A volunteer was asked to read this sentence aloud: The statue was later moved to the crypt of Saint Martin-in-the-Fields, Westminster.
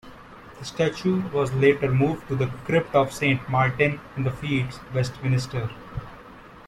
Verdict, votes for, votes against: rejected, 0, 2